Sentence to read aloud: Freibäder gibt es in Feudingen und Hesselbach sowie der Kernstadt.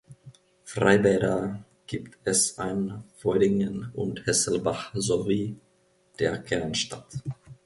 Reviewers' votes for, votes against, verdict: 0, 2, rejected